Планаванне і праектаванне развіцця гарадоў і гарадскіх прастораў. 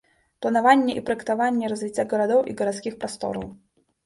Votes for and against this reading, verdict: 2, 1, accepted